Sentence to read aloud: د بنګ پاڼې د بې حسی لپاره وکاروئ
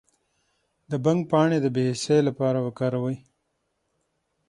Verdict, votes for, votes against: accepted, 6, 0